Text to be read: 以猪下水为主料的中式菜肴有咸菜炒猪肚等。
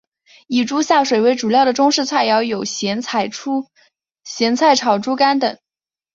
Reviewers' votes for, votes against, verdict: 1, 4, rejected